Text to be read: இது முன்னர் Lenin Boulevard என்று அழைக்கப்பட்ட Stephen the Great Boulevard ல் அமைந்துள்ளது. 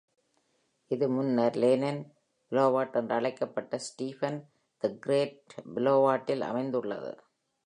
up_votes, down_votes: 2, 1